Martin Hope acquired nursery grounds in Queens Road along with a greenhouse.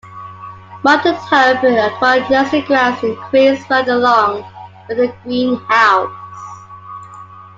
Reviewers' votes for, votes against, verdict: 2, 1, accepted